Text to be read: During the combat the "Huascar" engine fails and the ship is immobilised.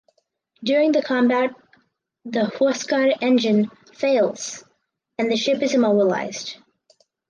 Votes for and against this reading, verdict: 4, 0, accepted